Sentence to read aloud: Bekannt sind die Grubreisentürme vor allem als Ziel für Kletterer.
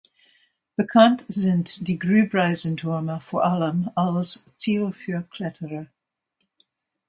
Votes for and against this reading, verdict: 1, 2, rejected